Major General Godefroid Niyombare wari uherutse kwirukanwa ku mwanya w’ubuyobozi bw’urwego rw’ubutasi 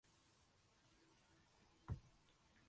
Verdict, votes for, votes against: rejected, 0, 3